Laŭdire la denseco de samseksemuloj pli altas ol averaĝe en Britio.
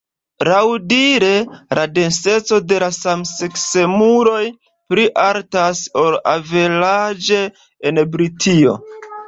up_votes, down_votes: 2, 0